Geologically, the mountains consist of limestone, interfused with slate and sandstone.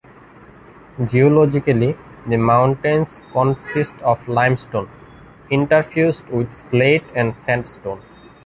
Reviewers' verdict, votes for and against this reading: accepted, 2, 0